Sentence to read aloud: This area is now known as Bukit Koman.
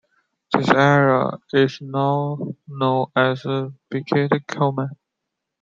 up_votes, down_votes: 3, 0